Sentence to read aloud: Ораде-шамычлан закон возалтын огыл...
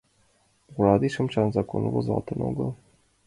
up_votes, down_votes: 2, 0